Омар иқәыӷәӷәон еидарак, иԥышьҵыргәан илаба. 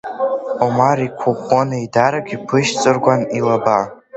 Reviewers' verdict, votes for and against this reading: accepted, 2, 0